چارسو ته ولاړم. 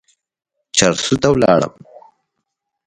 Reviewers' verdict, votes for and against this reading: accepted, 2, 0